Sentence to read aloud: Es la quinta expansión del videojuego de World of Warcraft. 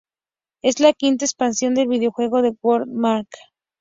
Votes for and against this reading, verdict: 2, 0, accepted